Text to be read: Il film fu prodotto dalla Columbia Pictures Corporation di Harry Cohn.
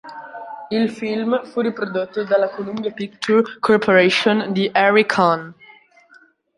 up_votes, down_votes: 0, 2